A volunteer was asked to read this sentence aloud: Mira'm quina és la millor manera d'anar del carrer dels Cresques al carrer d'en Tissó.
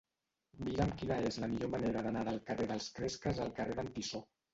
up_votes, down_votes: 0, 2